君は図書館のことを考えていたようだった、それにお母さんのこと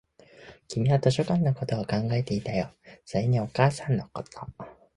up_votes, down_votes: 0, 2